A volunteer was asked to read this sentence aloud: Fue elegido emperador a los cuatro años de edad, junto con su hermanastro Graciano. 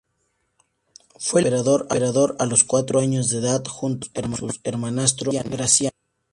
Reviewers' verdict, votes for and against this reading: rejected, 0, 2